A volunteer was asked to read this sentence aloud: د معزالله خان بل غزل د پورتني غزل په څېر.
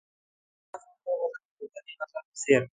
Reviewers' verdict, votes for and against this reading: rejected, 1, 2